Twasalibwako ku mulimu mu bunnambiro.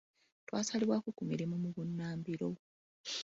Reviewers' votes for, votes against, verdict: 0, 2, rejected